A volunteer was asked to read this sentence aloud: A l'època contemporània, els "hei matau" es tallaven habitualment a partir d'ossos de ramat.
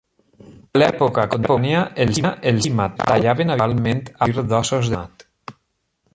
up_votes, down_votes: 0, 2